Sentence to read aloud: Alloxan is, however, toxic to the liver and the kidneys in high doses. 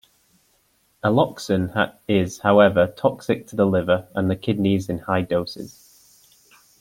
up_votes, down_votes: 2, 0